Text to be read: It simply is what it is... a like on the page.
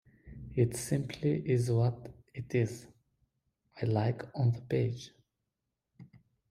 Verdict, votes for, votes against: accepted, 2, 0